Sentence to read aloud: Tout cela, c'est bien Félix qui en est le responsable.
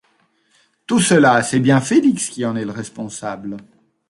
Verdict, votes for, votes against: accepted, 2, 0